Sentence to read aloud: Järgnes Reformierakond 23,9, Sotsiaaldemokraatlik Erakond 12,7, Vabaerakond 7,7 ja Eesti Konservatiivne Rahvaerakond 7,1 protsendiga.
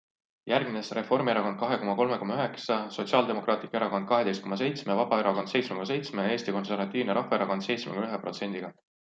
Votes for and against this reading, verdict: 0, 2, rejected